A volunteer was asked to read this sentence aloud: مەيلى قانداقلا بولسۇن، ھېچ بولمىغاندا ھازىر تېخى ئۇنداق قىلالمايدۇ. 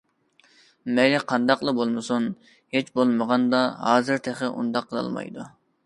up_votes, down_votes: 0, 2